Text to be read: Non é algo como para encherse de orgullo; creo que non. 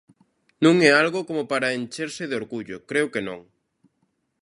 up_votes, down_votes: 2, 0